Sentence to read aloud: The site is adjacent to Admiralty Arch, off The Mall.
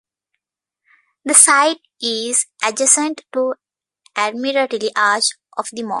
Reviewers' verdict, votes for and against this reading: accepted, 2, 1